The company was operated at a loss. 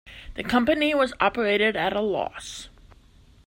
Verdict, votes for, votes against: accepted, 2, 0